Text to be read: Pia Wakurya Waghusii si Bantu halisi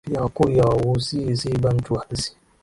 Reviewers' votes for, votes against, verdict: 3, 1, accepted